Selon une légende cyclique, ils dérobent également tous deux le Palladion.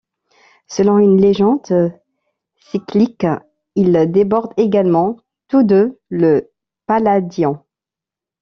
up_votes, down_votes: 1, 2